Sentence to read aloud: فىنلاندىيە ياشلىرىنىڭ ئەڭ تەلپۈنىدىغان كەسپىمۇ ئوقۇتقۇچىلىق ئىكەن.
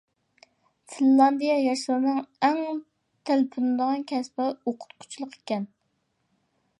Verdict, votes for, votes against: rejected, 0, 2